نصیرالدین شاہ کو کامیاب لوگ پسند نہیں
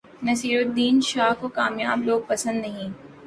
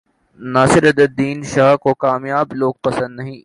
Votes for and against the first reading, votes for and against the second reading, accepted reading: 12, 0, 2, 2, first